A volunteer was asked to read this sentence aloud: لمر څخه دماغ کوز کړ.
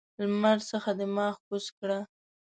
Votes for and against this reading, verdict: 0, 2, rejected